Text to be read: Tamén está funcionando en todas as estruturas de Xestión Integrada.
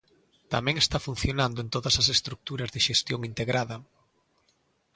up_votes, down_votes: 2, 0